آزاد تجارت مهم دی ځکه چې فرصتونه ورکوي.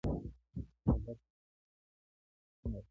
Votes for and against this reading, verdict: 1, 2, rejected